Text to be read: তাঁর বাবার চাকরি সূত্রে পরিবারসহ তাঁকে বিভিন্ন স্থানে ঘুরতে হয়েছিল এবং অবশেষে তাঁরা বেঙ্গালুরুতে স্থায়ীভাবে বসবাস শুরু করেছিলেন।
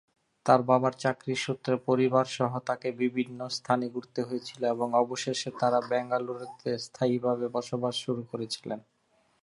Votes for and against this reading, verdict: 3, 0, accepted